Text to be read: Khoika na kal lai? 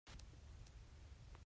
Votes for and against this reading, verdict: 1, 2, rejected